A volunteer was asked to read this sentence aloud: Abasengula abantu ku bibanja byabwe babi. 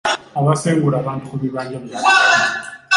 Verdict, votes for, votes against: rejected, 1, 2